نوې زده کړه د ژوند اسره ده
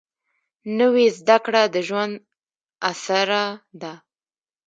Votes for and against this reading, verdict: 0, 2, rejected